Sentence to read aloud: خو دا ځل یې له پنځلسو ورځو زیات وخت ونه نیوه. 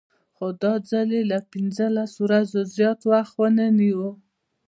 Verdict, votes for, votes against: rejected, 1, 2